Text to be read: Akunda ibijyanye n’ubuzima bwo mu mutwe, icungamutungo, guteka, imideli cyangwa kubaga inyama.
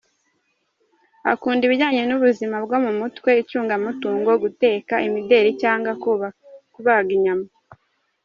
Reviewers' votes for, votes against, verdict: 1, 2, rejected